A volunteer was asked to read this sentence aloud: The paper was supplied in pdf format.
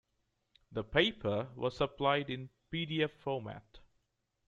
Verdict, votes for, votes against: accepted, 2, 0